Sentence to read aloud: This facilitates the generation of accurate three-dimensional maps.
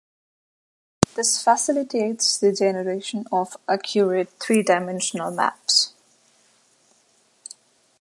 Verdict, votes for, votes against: accepted, 2, 0